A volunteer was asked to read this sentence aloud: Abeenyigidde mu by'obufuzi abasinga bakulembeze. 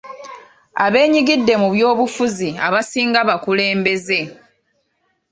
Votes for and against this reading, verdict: 2, 0, accepted